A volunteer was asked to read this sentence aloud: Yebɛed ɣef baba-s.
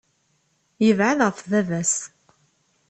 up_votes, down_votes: 2, 0